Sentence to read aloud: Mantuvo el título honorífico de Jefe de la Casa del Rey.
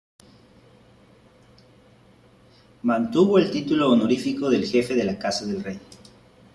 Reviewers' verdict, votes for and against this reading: accepted, 2, 1